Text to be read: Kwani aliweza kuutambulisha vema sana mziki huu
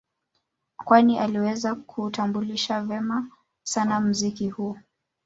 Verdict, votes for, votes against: accepted, 2, 0